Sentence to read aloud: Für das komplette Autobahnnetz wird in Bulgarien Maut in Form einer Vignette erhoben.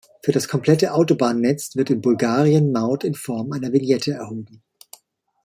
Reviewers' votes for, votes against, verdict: 2, 0, accepted